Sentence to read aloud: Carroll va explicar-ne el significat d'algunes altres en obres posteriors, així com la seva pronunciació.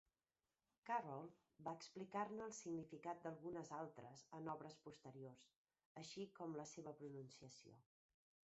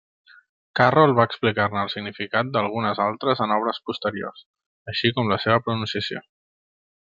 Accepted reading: second